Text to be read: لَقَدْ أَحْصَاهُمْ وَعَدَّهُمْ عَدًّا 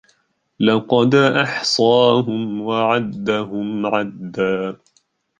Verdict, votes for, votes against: rejected, 1, 2